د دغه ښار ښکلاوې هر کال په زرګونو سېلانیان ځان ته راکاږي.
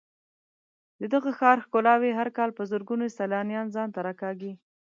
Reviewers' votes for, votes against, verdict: 3, 0, accepted